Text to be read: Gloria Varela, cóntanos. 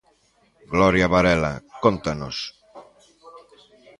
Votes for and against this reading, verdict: 1, 2, rejected